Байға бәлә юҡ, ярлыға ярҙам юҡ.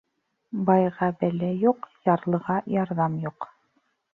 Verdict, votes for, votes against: rejected, 1, 2